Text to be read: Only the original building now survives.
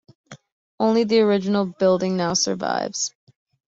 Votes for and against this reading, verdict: 2, 0, accepted